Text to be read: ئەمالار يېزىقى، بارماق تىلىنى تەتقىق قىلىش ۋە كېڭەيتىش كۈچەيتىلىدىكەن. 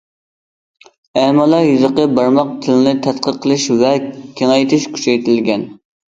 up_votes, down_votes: 1, 2